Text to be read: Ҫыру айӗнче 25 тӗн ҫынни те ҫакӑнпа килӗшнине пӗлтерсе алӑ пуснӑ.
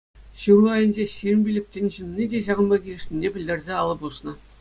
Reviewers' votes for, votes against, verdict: 0, 2, rejected